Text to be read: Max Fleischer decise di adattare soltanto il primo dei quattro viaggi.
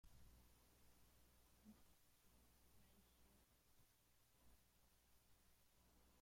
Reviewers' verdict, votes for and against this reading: rejected, 0, 2